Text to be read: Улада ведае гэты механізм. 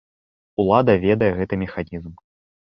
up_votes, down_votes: 2, 1